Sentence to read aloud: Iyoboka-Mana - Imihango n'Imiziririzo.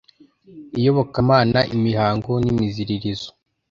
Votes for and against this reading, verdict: 2, 0, accepted